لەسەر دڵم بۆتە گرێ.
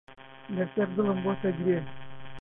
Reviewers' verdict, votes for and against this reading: rejected, 0, 2